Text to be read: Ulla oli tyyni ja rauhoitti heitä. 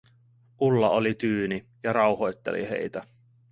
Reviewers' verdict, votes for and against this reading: rejected, 0, 2